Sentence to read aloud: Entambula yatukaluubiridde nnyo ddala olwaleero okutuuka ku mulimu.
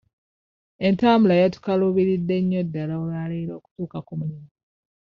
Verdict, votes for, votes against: rejected, 0, 2